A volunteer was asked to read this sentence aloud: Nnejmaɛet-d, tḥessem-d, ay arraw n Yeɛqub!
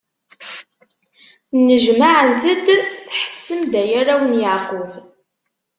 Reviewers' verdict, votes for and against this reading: rejected, 1, 2